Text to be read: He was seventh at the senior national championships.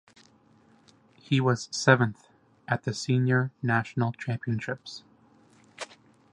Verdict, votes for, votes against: accepted, 2, 0